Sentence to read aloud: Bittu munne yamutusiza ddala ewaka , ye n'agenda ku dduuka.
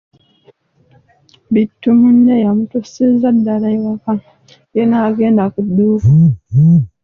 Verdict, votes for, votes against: accepted, 2, 0